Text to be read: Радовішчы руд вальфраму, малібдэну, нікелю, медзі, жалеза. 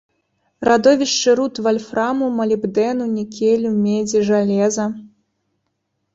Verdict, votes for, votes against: rejected, 0, 2